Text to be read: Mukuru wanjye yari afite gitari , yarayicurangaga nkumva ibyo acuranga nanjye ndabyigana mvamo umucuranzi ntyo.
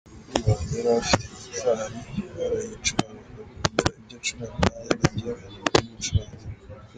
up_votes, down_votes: 0, 2